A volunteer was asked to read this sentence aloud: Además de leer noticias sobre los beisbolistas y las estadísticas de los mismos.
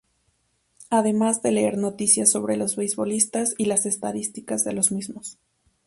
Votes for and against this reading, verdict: 2, 2, rejected